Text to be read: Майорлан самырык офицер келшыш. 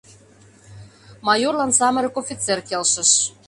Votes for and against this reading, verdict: 2, 0, accepted